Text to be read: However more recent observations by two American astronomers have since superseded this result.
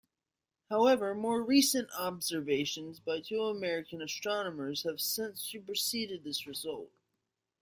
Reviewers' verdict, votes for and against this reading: accepted, 2, 0